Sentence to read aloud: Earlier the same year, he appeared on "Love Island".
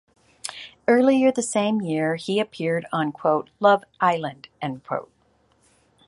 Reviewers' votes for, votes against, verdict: 1, 2, rejected